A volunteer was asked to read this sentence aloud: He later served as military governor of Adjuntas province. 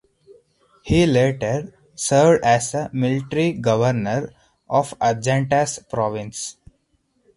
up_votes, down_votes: 0, 4